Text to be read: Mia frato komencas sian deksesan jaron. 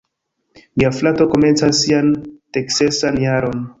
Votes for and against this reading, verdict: 0, 2, rejected